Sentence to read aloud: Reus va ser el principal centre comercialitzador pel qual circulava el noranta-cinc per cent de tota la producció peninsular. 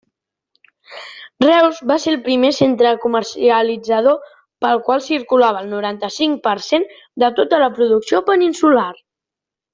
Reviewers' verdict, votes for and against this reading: rejected, 1, 2